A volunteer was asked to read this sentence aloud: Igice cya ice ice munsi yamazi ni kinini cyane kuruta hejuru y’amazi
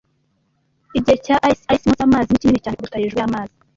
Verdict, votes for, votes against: rejected, 1, 2